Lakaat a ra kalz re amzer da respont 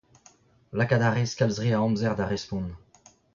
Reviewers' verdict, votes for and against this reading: rejected, 1, 2